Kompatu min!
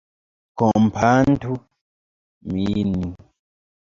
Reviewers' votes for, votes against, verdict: 0, 2, rejected